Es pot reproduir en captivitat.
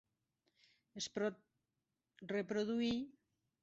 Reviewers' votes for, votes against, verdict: 1, 2, rejected